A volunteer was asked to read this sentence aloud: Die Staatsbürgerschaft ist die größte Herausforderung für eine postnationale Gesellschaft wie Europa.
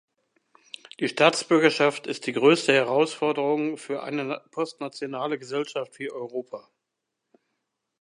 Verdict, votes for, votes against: rejected, 1, 2